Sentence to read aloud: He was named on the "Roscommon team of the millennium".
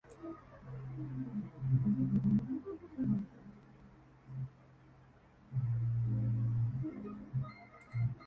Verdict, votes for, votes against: rejected, 0, 2